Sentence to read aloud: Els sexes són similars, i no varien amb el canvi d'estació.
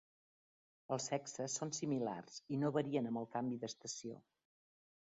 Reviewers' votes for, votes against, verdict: 2, 1, accepted